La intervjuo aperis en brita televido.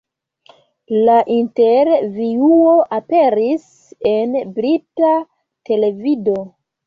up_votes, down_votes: 2, 0